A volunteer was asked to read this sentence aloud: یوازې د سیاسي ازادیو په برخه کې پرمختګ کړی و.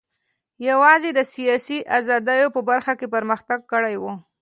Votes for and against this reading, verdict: 2, 1, accepted